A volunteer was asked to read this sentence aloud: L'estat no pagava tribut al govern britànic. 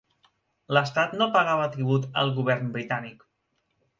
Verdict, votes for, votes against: accepted, 3, 0